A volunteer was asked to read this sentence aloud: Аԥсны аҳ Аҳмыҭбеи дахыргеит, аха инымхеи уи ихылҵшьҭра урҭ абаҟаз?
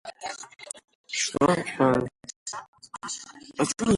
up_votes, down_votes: 0, 2